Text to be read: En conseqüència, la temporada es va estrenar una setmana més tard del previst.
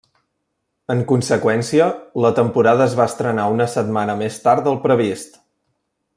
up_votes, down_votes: 2, 0